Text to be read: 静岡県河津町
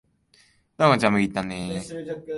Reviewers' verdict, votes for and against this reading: rejected, 2, 3